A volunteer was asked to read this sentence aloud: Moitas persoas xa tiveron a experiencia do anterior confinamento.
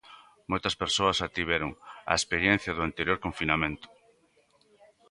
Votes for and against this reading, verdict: 2, 0, accepted